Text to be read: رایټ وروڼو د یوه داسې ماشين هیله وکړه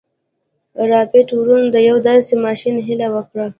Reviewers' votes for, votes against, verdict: 3, 0, accepted